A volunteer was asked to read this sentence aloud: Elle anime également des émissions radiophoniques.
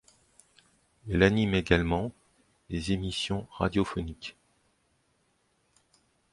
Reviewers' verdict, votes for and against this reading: accepted, 2, 0